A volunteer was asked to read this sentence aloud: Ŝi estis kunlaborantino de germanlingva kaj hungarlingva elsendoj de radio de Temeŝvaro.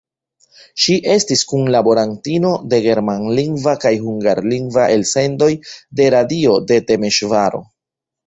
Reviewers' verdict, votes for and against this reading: rejected, 1, 2